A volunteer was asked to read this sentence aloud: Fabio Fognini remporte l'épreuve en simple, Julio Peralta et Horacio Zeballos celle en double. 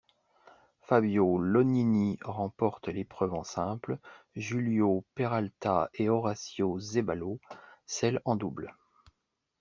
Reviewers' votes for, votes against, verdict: 0, 2, rejected